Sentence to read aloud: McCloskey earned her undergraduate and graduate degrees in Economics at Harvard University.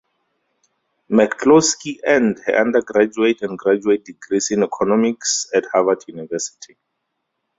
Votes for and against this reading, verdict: 6, 8, rejected